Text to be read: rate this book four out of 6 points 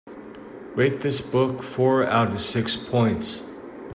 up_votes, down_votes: 0, 2